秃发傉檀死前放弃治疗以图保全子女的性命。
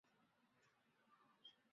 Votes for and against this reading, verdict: 1, 2, rejected